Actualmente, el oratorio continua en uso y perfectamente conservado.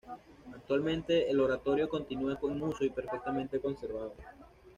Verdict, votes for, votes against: rejected, 1, 2